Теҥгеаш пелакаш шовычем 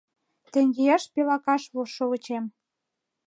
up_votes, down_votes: 1, 2